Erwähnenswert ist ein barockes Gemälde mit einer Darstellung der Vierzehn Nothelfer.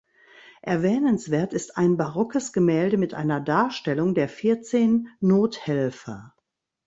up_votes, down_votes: 2, 0